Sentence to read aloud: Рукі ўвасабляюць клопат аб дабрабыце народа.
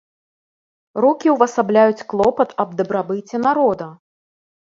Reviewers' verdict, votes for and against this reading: accepted, 2, 0